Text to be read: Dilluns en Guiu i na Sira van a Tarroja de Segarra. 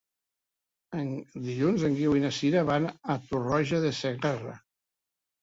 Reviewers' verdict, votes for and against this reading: rejected, 1, 2